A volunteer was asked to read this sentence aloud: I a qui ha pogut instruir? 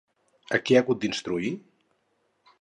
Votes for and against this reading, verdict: 2, 2, rejected